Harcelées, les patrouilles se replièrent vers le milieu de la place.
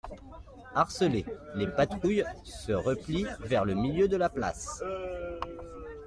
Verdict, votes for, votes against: rejected, 0, 2